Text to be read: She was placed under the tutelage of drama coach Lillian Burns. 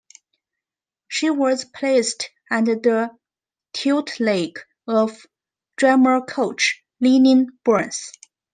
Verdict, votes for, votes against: rejected, 0, 2